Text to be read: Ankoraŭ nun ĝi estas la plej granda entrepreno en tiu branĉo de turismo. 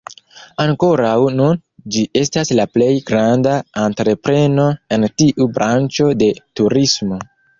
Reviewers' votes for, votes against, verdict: 1, 2, rejected